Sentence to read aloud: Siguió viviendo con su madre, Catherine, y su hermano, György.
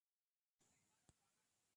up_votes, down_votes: 0, 2